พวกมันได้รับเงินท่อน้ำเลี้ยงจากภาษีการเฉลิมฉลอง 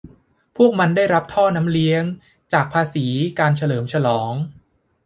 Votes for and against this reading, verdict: 0, 2, rejected